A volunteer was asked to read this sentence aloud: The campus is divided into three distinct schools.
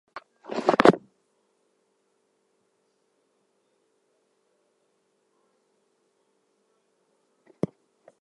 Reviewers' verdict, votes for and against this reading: rejected, 0, 2